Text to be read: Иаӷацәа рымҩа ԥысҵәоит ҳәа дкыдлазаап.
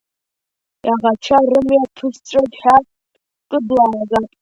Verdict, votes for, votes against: rejected, 2, 3